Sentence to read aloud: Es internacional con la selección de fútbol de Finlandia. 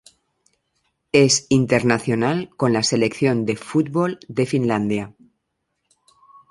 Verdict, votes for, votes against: accepted, 2, 0